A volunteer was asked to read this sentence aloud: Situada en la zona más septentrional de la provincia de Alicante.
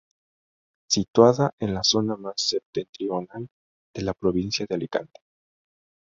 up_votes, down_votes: 2, 0